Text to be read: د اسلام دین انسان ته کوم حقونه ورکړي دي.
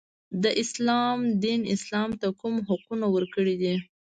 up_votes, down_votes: 1, 2